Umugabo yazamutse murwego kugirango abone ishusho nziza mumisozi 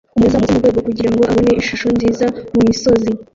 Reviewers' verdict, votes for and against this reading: rejected, 0, 2